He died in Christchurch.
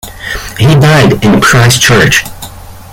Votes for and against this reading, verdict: 2, 1, accepted